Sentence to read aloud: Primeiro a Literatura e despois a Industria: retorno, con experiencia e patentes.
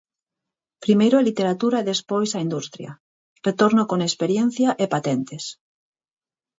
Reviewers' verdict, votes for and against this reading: accepted, 4, 0